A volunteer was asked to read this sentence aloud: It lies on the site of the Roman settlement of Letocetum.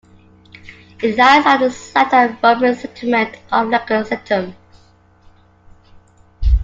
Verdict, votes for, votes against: rejected, 0, 2